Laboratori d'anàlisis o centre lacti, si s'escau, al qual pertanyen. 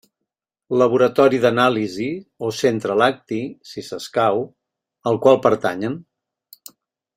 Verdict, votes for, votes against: rejected, 1, 2